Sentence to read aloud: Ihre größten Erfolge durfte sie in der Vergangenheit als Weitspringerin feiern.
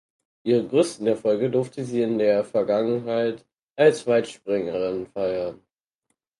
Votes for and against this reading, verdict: 4, 0, accepted